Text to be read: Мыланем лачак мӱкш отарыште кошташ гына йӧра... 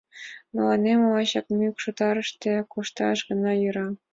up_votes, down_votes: 2, 0